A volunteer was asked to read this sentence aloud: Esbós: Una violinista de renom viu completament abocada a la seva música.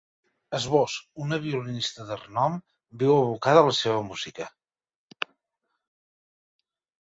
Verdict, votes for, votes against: rejected, 0, 2